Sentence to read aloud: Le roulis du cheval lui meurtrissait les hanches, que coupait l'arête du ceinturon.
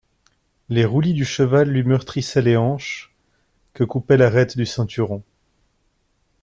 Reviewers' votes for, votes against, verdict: 1, 2, rejected